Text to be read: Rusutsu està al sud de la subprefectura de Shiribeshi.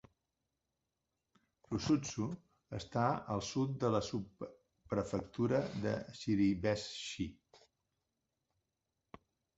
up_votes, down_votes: 1, 2